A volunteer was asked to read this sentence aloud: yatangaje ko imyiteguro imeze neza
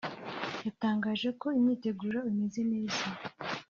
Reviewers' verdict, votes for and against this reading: rejected, 1, 2